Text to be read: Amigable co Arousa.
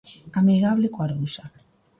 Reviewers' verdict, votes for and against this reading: accepted, 2, 0